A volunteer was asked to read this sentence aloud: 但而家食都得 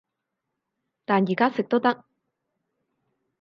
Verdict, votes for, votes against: accepted, 4, 0